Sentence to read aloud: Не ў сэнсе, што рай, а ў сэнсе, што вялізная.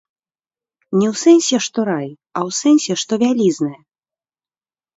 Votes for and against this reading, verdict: 1, 2, rejected